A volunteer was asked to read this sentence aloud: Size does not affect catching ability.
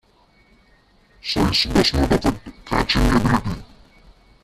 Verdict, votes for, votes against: rejected, 1, 2